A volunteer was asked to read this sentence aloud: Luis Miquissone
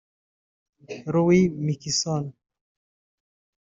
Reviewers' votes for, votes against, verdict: 0, 2, rejected